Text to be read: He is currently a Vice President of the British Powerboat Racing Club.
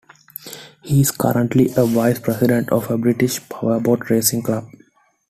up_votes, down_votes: 2, 0